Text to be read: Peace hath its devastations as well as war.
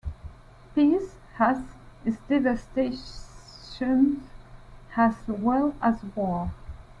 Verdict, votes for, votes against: rejected, 1, 2